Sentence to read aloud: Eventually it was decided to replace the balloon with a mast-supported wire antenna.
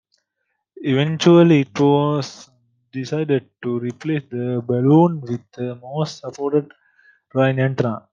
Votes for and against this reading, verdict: 0, 2, rejected